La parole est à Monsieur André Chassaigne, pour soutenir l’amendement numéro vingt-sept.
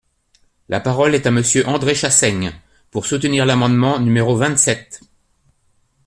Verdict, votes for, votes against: accepted, 2, 0